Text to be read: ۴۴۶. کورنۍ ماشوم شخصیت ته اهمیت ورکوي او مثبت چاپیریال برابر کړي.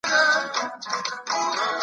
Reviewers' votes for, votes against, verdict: 0, 2, rejected